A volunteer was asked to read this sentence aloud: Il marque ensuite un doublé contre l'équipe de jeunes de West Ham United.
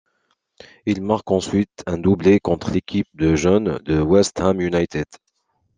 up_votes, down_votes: 2, 0